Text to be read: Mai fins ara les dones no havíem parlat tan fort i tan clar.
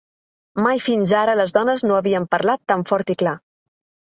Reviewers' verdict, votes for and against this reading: rejected, 0, 2